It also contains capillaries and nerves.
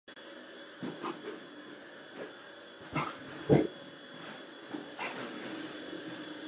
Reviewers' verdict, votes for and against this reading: rejected, 0, 2